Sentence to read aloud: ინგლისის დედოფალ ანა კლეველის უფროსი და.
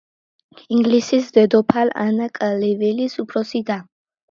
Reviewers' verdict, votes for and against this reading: accepted, 2, 0